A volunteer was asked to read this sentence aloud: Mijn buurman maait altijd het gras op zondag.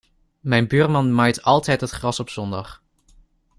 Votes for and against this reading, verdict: 2, 0, accepted